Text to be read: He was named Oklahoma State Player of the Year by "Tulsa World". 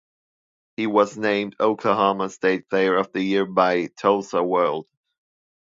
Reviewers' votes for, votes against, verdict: 2, 0, accepted